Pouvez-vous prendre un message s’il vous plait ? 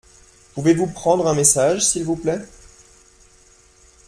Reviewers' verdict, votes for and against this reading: accepted, 2, 0